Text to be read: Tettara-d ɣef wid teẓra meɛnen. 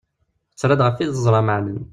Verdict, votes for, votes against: accepted, 2, 0